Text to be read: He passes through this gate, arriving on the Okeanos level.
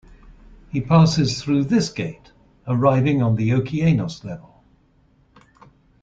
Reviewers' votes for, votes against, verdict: 2, 0, accepted